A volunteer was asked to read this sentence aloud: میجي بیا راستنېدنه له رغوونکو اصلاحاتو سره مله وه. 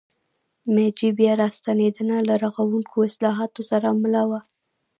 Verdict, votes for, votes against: rejected, 1, 2